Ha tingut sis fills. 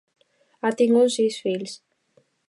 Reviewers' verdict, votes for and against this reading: accepted, 2, 0